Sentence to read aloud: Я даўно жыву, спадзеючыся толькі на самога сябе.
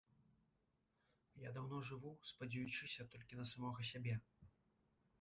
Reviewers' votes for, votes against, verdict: 2, 1, accepted